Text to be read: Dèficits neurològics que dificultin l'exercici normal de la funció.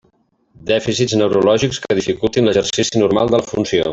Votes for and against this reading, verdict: 0, 2, rejected